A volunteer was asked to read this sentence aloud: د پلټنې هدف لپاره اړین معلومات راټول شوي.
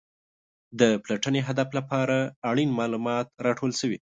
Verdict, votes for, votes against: accepted, 2, 0